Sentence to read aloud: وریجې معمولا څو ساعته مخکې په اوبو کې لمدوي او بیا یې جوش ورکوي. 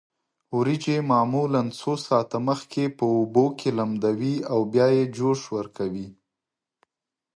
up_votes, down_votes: 2, 0